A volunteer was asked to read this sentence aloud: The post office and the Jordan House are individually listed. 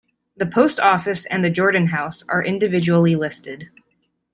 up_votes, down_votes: 2, 0